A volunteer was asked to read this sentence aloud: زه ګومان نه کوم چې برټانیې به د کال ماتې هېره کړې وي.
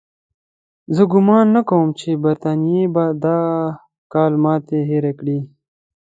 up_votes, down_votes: 2, 0